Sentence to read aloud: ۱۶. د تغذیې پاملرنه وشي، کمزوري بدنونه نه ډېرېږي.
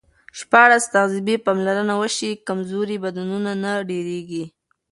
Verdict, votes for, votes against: rejected, 0, 2